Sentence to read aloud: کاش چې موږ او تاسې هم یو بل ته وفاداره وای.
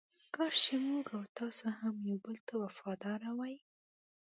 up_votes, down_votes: 2, 0